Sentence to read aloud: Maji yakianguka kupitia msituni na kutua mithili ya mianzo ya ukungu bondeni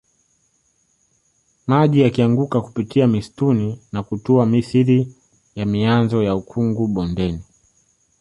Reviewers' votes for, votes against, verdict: 3, 1, accepted